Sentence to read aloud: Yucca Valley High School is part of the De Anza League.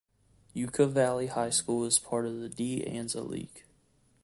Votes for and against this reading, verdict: 2, 0, accepted